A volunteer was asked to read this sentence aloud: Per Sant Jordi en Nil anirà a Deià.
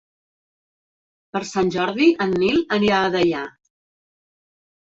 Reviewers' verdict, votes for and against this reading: rejected, 0, 2